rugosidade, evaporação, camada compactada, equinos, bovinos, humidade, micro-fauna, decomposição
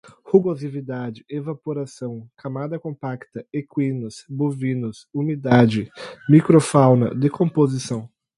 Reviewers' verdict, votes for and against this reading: rejected, 0, 2